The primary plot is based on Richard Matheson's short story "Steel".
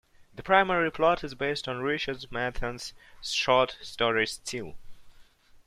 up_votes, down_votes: 2, 0